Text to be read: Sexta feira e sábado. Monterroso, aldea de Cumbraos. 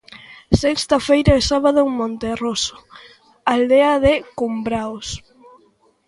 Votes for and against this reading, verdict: 0, 2, rejected